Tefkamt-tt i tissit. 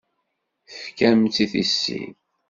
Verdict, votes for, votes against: accepted, 2, 0